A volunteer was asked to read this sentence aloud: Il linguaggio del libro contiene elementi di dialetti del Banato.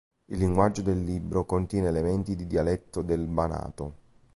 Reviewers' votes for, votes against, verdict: 0, 2, rejected